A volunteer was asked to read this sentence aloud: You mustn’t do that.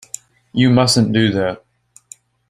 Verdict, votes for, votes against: accepted, 2, 0